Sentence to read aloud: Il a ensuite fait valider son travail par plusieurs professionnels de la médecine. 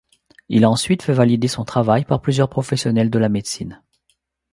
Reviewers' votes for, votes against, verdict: 2, 0, accepted